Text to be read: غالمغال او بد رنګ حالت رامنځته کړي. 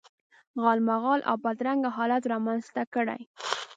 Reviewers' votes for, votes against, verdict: 0, 2, rejected